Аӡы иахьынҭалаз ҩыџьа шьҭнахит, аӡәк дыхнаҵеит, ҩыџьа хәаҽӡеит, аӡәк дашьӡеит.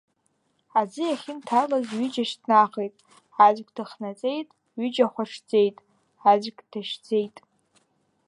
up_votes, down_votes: 2, 0